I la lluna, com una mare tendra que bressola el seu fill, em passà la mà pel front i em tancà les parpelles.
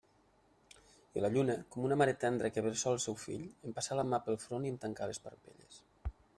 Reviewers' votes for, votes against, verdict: 2, 1, accepted